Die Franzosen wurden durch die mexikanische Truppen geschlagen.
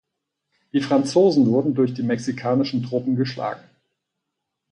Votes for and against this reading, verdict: 2, 4, rejected